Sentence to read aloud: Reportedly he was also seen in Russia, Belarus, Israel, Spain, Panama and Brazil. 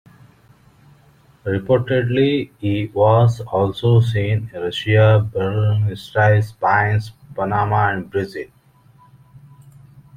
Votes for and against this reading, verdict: 1, 2, rejected